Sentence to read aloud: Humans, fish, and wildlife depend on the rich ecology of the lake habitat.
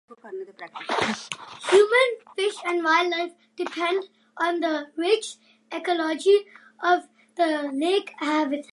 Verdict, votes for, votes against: rejected, 0, 2